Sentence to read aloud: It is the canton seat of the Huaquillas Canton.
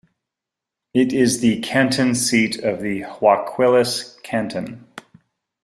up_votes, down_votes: 1, 2